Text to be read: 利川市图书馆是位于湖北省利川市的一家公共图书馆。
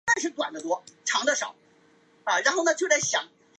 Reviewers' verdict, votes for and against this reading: rejected, 0, 5